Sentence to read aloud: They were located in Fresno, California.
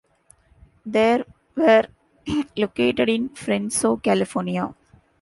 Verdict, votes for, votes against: accepted, 2, 0